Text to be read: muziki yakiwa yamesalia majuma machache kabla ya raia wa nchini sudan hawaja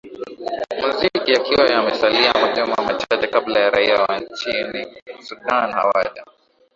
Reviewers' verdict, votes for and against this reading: rejected, 1, 2